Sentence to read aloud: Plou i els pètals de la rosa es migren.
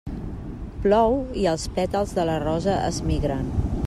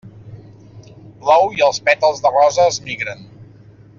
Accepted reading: first